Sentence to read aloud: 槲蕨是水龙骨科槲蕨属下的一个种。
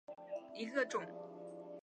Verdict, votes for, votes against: rejected, 0, 3